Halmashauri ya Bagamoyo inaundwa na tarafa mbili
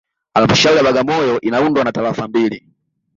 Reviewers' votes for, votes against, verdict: 2, 0, accepted